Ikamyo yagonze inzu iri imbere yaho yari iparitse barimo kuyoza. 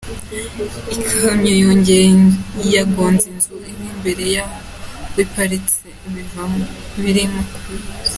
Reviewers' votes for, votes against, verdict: 0, 3, rejected